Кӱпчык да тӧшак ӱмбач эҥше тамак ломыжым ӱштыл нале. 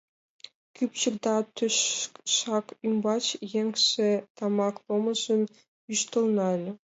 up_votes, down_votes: 1, 2